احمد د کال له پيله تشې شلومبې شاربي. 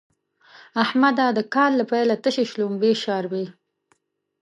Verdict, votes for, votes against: rejected, 1, 2